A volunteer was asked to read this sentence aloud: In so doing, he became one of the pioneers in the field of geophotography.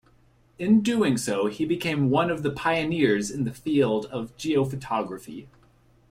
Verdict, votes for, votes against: accepted, 2, 0